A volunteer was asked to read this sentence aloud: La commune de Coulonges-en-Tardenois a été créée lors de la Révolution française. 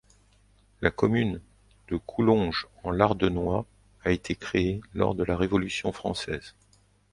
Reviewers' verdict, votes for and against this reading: rejected, 0, 2